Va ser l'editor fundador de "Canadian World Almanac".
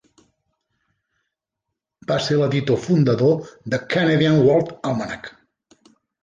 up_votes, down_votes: 2, 0